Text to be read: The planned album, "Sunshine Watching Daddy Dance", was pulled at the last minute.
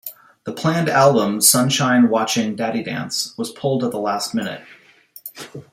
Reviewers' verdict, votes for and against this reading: accepted, 2, 0